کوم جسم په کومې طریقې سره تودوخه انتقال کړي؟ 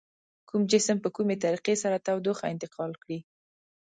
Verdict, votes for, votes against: accepted, 2, 0